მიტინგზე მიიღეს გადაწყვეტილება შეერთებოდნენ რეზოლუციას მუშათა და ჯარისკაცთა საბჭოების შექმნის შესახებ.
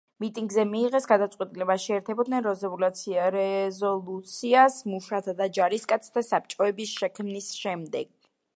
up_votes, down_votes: 0, 2